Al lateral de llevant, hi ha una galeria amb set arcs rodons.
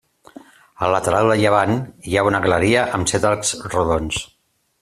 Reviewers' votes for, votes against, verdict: 3, 0, accepted